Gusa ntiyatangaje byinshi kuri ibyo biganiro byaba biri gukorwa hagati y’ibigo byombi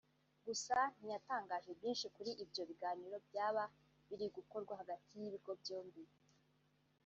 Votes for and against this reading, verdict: 2, 1, accepted